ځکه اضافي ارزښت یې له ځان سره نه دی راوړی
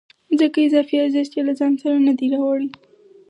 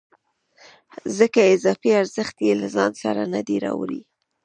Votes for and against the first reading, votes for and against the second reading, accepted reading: 4, 0, 1, 2, first